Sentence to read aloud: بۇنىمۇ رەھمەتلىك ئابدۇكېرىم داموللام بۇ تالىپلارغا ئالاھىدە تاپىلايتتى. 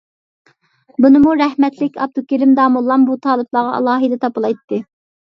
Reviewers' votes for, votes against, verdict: 2, 0, accepted